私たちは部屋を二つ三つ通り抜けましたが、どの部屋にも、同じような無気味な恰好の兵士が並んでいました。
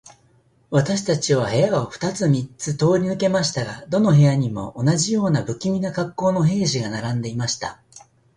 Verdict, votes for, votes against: accepted, 2, 0